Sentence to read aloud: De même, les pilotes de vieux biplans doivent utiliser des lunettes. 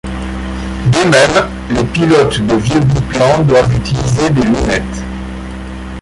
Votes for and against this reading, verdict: 2, 1, accepted